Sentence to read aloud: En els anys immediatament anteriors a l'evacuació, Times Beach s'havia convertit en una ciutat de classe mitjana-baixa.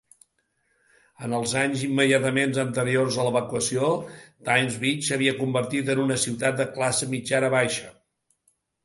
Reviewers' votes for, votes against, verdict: 2, 0, accepted